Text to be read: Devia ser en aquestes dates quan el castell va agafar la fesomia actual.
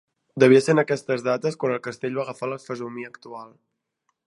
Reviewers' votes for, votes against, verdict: 2, 0, accepted